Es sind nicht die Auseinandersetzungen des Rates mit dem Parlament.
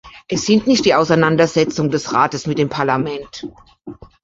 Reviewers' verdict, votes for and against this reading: accepted, 2, 0